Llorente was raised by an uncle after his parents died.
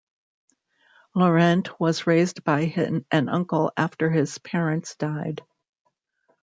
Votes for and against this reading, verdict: 1, 2, rejected